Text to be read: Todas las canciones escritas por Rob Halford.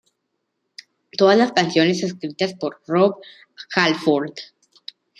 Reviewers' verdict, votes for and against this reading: accepted, 3, 0